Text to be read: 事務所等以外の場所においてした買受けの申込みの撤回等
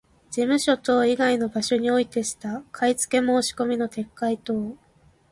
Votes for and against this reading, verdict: 1, 2, rejected